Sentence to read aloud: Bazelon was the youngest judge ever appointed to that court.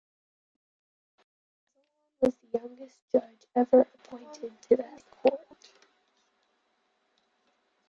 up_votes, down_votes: 0, 2